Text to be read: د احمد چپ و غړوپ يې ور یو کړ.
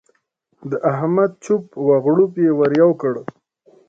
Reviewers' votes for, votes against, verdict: 2, 0, accepted